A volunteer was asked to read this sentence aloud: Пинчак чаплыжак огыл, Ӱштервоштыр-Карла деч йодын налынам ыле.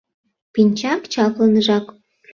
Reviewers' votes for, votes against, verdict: 0, 2, rejected